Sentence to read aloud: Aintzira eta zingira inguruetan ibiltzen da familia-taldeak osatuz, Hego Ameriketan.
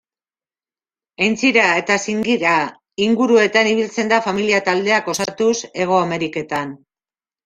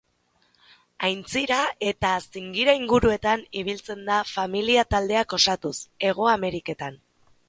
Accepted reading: second